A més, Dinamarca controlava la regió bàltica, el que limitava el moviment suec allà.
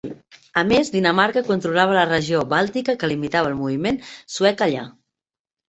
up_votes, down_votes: 1, 3